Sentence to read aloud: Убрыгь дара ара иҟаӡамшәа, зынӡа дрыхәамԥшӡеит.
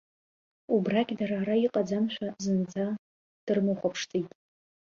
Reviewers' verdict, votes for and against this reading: rejected, 0, 2